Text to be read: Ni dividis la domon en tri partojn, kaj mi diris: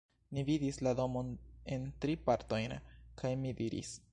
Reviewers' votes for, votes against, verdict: 1, 2, rejected